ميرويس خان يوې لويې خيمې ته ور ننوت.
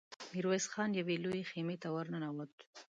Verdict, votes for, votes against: accepted, 2, 0